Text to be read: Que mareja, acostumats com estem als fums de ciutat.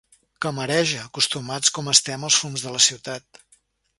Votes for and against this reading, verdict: 1, 2, rejected